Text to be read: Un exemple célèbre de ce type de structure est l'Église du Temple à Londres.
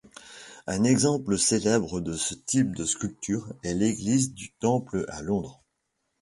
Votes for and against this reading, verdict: 0, 2, rejected